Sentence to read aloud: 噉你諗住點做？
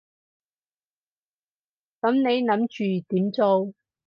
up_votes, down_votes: 4, 0